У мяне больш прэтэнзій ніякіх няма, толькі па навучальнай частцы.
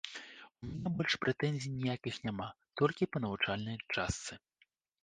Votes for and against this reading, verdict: 1, 2, rejected